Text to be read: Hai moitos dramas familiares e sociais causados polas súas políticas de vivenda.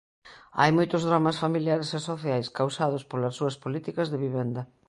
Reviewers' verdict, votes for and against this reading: accepted, 2, 0